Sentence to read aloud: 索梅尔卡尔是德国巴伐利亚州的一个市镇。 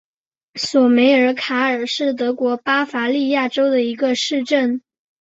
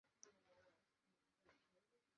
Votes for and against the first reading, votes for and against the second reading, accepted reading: 2, 0, 0, 2, first